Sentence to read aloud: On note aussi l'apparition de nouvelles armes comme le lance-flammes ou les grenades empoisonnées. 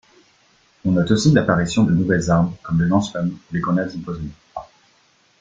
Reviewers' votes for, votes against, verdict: 1, 2, rejected